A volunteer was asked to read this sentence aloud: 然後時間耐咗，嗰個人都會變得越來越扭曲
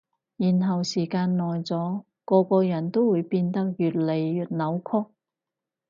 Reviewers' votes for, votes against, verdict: 2, 2, rejected